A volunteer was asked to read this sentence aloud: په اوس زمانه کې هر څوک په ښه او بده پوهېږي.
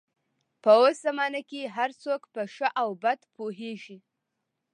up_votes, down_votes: 1, 2